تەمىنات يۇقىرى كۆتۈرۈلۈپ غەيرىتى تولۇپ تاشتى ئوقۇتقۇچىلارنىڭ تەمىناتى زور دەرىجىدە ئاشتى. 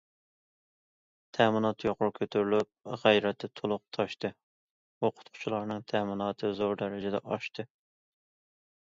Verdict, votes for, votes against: accepted, 2, 0